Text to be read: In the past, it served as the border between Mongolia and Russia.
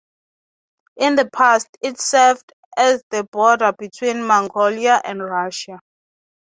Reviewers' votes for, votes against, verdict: 3, 0, accepted